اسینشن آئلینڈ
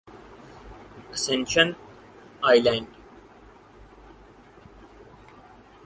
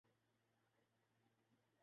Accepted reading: first